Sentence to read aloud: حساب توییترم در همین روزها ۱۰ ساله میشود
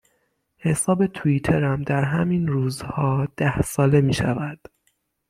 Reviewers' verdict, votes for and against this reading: rejected, 0, 2